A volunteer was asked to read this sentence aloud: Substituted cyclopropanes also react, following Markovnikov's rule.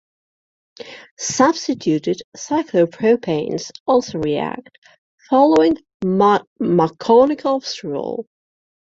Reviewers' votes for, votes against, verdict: 1, 2, rejected